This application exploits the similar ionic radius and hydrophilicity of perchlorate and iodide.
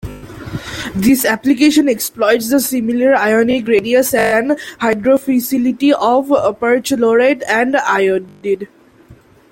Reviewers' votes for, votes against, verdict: 1, 2, rejected